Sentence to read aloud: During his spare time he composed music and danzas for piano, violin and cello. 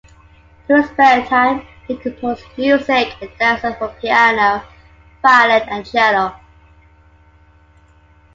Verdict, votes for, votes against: rejected, 1, 2